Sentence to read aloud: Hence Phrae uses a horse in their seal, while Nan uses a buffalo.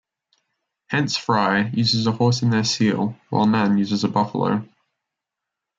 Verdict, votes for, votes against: accepted, 2, 0